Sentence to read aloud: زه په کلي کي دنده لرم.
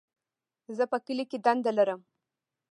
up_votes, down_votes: 1, 2